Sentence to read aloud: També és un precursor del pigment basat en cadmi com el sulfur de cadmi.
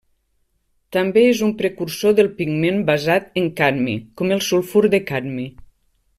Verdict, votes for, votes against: accepted, 3, 0